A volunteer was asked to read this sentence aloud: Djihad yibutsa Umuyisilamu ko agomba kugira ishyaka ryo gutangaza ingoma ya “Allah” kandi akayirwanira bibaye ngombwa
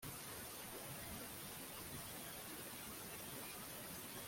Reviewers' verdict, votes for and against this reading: rejected, 0, 2